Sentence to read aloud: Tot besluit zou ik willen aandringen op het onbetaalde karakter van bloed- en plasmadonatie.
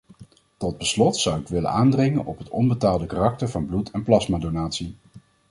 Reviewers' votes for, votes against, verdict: 1, 2, rejected